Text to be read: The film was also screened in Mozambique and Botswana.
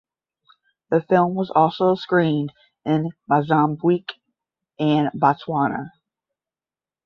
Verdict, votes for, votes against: rejected, 5, 5